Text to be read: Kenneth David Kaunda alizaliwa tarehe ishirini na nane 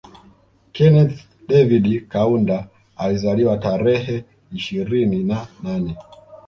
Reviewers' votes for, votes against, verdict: 0, 2, rejected